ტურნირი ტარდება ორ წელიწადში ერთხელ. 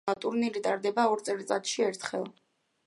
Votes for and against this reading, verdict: 3, 1, accepted